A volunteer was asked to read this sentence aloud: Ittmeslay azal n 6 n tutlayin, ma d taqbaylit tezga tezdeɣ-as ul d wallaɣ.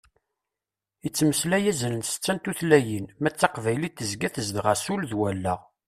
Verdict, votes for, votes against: rejected, 0, 2